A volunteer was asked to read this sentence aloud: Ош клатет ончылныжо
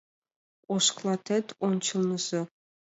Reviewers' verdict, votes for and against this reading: accepted, 2, 0